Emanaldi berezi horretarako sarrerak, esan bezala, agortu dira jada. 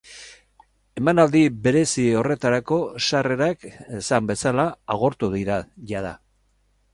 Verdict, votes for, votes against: accepted, 6, 0